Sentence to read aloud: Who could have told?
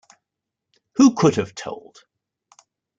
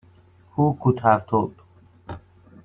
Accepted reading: first